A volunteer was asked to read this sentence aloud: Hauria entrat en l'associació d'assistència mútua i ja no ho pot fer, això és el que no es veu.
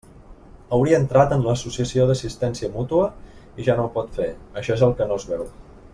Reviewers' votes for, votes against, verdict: 2, 0, accepted